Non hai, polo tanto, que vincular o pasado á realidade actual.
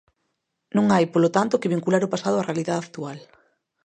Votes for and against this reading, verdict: 1, 2, rejected